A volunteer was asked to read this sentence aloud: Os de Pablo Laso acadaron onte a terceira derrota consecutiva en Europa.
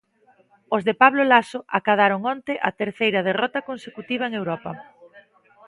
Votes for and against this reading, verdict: 2, 1, accepted